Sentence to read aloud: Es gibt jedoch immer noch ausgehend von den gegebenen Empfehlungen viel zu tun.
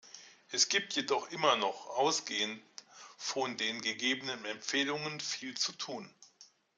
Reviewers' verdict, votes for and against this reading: accepted, 2, 0